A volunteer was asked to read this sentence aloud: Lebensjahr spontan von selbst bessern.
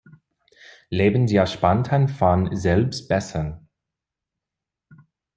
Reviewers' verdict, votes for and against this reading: accepted, 2, 1